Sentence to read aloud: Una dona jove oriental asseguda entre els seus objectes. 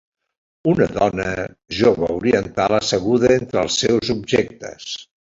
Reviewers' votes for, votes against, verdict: 0, 2, rejected